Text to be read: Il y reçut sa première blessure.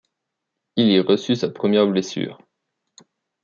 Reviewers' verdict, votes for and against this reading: rejected, 1, 2